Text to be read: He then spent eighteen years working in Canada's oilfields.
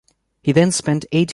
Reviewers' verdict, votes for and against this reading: rejected, 0, 2